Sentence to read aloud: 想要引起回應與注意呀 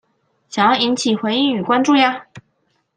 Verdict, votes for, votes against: rejected, 0, 2